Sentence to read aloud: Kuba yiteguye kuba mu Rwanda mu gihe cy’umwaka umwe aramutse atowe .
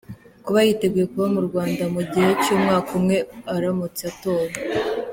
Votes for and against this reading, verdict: 2, 0, accepted